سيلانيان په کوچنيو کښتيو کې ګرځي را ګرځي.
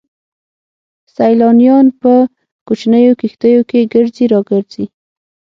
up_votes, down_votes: 6, 0